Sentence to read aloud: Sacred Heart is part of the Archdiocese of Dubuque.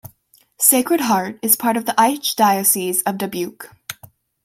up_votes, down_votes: 1, 2